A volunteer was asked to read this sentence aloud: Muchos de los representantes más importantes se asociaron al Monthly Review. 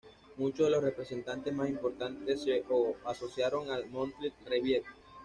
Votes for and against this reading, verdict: 2, 0, accepted